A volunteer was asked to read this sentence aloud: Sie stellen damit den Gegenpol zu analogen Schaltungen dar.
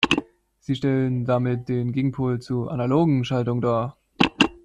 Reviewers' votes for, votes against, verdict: 2, 0, accepted